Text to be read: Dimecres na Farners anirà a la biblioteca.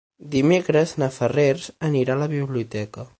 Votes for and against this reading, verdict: 0, 6, rejected